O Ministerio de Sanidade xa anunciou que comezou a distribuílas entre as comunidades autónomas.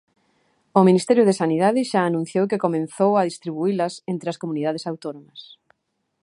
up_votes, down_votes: 1, 2